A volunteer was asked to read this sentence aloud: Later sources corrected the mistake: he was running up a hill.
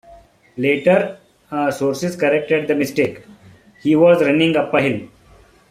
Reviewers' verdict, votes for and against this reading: rejected, 1, 2